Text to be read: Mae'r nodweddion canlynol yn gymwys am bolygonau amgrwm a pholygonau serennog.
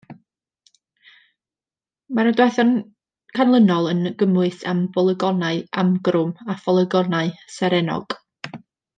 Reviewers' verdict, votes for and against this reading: rejected, 1, 2